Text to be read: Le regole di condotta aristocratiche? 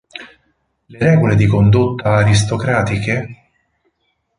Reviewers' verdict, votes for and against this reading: rejected, 2, 4